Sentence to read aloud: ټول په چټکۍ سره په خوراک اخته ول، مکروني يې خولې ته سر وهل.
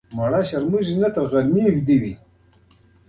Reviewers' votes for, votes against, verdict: 2, 1, accepted